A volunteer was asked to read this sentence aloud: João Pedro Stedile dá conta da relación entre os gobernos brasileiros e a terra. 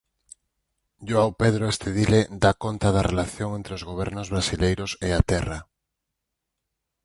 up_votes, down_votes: 4, 0